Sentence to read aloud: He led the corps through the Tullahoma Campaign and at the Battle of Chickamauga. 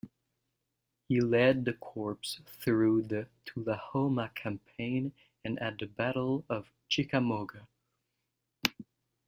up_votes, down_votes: 2, 0